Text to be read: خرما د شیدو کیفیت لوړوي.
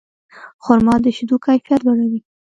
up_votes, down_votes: 1, 2